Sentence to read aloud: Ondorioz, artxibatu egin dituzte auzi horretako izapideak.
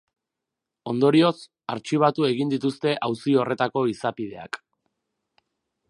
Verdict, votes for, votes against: accepted, 4, 0